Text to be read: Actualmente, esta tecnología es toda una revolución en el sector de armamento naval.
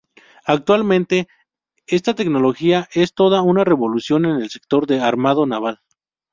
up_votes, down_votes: 0, 2